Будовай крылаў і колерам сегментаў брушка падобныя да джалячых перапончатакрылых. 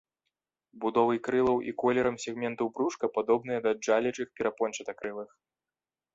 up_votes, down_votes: 2, 0